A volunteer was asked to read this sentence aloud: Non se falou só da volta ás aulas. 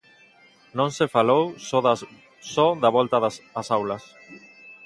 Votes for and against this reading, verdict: 0, 2, rejected